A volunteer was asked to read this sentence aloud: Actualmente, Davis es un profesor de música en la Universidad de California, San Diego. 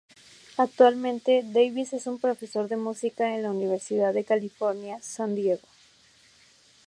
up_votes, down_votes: 4, 0